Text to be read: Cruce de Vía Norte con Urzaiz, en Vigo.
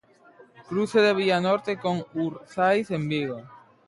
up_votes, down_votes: 1, 2